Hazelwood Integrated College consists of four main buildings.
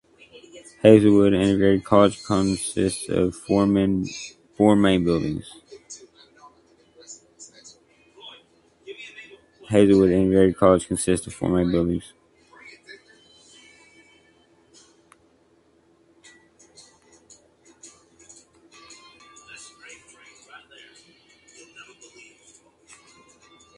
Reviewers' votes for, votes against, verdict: 0, 3, rejected